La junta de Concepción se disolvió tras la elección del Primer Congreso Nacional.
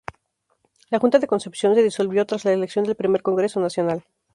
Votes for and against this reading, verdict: 0, 4, rejected